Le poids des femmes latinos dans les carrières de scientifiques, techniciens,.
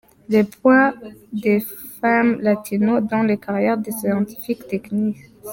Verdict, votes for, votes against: rejected, 0, 2